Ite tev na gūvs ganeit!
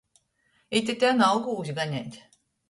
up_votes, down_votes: 0, 2